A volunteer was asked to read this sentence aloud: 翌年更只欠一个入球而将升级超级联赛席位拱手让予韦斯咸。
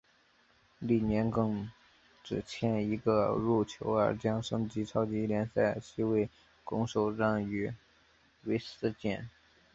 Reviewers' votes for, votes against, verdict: 2, 1, accepted